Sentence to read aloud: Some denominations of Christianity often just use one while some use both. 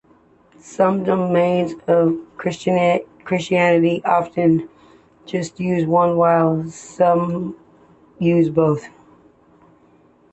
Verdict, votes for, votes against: rejected, 0, 2